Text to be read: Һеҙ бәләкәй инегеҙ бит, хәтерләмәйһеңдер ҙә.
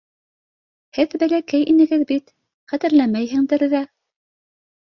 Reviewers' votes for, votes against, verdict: 2, 0, accepted